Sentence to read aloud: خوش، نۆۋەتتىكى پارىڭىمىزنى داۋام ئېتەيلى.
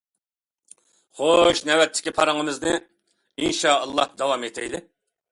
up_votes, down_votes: 0, 2